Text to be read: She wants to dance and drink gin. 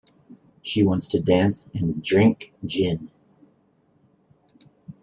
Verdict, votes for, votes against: accepted, 2, 0